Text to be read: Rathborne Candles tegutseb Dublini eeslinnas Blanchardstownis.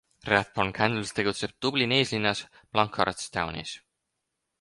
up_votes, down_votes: 6, 0